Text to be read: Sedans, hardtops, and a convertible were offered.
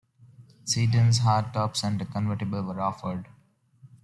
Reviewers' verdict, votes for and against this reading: accepted, 2, 0